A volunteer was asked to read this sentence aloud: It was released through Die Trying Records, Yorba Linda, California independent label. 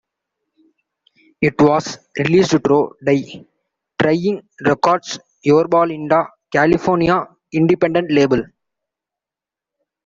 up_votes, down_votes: 1, 2